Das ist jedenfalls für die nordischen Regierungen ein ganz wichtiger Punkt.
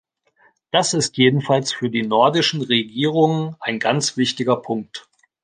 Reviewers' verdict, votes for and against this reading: accepted, 2, 0